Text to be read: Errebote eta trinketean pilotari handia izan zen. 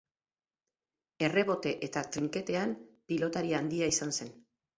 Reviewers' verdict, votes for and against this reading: accepted, 4, 0